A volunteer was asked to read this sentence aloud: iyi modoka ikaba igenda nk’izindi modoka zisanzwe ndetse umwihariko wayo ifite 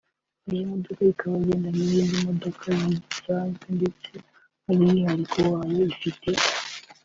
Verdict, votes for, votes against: accepted, 2, 0